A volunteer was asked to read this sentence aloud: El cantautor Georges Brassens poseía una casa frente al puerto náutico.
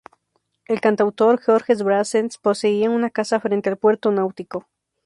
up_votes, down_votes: 2, 2